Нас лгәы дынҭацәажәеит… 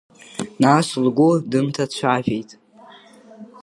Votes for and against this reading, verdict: 2, 0, accepted